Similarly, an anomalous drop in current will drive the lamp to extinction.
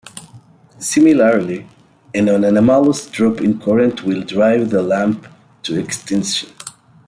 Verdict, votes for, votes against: accepted, 2, 1